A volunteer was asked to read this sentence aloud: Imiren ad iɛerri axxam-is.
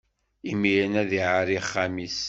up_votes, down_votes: 2, 0